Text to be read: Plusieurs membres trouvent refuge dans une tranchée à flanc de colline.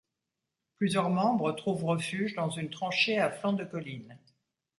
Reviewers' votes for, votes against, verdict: 2, 0, accepted